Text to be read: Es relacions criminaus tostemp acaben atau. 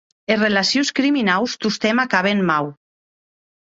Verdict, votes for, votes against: rejected, 0, 2